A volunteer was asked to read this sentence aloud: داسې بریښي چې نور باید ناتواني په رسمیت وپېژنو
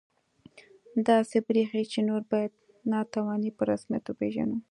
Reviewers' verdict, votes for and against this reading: accepted, 2, 0